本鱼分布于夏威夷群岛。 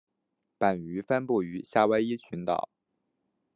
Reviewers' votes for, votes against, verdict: 1, 2, rejected